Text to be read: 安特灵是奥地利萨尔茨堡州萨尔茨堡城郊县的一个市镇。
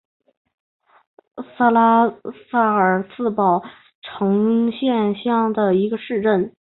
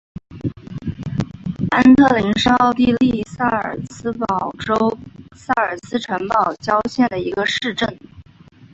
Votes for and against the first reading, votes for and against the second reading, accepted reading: 0, 2, 2, 1, second